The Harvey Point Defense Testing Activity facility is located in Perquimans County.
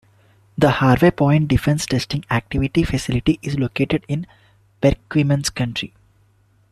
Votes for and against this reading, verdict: 2, 0, accepted